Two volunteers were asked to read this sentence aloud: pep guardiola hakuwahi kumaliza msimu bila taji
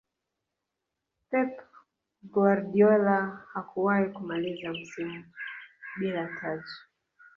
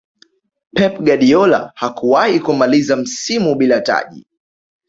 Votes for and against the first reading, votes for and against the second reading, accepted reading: 1, 2, 2, 0, second